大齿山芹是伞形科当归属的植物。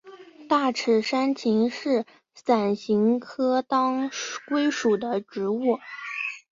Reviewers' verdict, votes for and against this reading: accepted, 2, 0